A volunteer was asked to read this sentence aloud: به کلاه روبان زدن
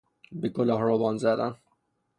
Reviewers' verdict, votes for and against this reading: accepted, 3, 0